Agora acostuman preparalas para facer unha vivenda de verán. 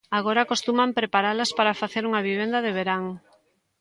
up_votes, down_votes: 2, 0